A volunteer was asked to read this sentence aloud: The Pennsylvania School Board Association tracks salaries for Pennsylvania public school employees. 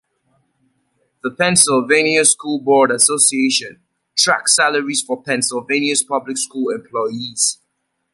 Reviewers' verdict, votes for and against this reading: accepted, 2, 0